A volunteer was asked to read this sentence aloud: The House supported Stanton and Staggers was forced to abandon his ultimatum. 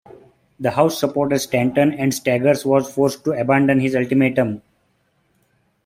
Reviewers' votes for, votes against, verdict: 0, 3, rejected